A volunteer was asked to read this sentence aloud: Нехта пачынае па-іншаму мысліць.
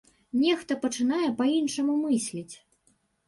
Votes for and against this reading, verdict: 2, 0, accepted